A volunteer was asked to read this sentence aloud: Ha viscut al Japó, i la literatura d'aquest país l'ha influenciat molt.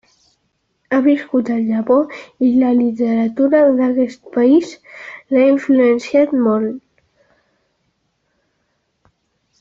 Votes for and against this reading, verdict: 2, 0, accepted